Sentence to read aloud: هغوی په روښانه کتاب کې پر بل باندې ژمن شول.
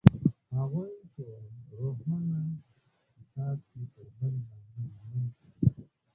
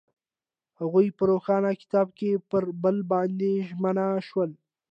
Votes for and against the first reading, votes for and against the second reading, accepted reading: 1, 2, 2, 0, second